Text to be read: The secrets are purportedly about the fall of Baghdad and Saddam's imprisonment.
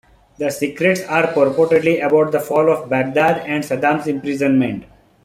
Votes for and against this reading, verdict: 3, 1, accepted